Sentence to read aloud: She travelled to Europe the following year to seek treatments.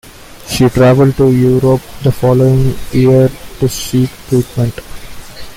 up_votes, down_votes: 0, 2